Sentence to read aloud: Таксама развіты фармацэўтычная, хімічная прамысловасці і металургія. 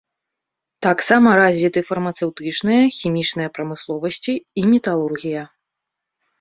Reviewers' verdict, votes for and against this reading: rejected, 0, 2